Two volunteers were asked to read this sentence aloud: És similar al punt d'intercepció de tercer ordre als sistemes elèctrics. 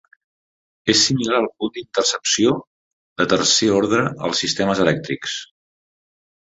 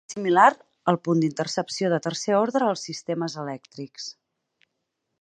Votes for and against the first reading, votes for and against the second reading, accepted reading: 2, 0, 0, 4, first